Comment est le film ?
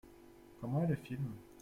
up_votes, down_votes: 1, 2